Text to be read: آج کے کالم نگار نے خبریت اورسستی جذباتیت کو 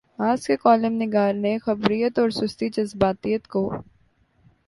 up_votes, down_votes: 5, 0